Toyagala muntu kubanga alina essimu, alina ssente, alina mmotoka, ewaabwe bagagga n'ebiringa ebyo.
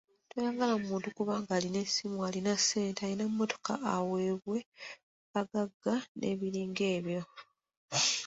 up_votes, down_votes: 1, 2